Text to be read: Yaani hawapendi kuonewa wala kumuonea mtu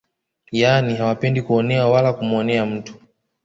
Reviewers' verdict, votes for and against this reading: accepted, 2, 0